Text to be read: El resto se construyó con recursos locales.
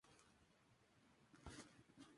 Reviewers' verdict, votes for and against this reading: rejected, 0, 2